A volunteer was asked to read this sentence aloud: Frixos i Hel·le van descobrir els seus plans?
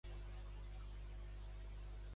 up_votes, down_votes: 0, 2